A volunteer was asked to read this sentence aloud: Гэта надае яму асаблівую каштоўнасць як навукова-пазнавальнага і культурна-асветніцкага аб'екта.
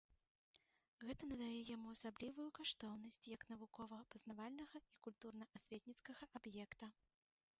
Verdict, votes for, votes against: rejected, 1, 2